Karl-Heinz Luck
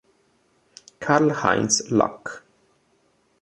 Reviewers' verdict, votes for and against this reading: accepted, 2, 0